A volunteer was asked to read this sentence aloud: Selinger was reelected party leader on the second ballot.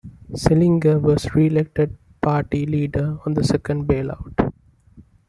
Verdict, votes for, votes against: rejected, 0, 2